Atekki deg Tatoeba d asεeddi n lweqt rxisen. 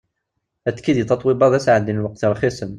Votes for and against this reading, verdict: 2, 0, accepted